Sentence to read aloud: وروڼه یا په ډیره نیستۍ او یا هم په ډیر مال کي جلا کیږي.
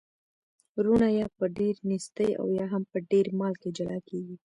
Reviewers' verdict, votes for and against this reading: rejected, 0, 2